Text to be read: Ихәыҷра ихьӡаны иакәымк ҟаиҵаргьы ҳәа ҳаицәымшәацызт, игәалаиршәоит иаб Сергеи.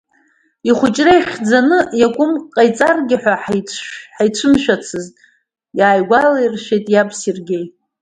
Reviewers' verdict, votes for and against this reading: rejected, 0, 2